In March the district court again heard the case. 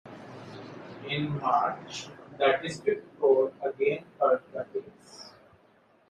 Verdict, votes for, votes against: rejected, 1, 2